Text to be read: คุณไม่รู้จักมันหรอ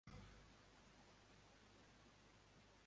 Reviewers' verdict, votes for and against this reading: rejected, 0, 2